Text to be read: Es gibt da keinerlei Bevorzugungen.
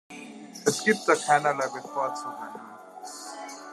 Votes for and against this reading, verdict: 1, 2, rejected